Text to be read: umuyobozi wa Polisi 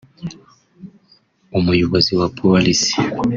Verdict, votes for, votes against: accepted, 2, 0